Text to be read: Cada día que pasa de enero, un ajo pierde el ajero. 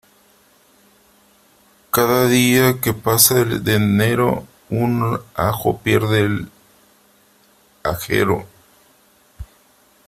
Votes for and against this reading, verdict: 3, 2, accepted